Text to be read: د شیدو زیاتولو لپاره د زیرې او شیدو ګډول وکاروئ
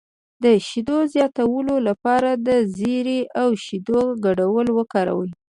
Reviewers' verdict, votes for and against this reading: rejected, 1, 2